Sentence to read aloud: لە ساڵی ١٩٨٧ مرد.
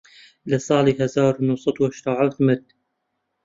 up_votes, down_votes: 0, 2